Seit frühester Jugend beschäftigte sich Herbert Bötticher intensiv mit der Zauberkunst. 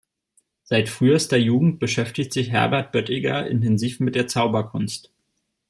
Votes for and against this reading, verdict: 1, 2, rejected